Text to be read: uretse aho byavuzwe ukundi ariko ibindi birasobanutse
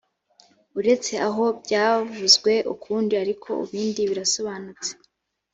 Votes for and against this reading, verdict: 2, 0, accepted